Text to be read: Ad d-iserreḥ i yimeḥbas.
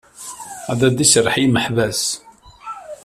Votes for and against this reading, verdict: 2, 0, accepted